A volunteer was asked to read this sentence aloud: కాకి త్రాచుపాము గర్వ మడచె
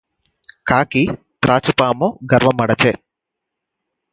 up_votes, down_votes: 0, 4